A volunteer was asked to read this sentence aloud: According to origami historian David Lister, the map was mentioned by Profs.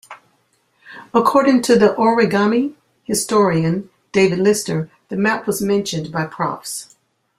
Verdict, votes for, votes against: rejected, 1, 2